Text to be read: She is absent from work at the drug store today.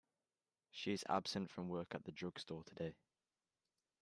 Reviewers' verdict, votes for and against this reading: rejected, 1, 2